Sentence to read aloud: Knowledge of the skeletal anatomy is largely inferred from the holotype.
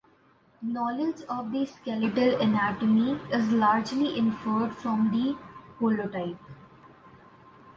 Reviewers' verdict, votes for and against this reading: accepted, 2, 0